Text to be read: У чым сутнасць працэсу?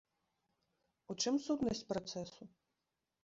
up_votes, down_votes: 2, 0